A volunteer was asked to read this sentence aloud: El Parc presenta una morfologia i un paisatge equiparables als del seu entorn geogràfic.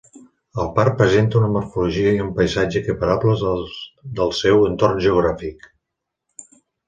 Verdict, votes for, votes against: accepted, 2, 0